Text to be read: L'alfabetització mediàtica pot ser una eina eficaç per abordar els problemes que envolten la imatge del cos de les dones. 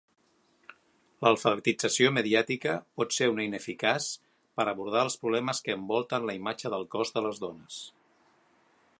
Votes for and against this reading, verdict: 2, 3, rejected